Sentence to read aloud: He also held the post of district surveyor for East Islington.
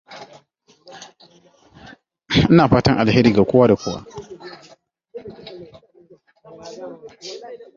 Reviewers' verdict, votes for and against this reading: rejected, 0, 2